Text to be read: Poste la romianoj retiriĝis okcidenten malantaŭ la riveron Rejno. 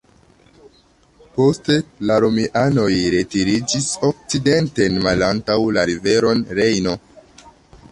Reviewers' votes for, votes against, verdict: 1, 2, rejected